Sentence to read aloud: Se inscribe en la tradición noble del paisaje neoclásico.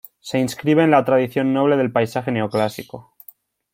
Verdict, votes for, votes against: accepted, 2, 0